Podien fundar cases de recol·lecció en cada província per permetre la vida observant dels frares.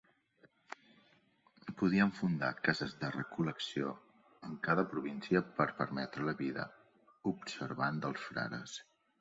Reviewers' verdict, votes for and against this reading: accepted, 2, 0